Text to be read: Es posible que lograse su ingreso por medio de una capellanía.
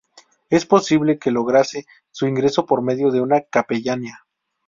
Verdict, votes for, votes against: rejected, 0, 2